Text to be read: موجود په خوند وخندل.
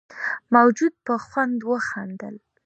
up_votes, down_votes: 2, 1